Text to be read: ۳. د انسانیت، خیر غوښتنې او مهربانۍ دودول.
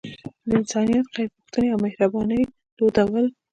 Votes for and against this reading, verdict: 0, 2, rejected